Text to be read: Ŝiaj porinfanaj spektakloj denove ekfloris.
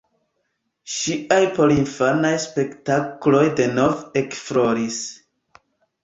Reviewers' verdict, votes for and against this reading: rejected, 1, 2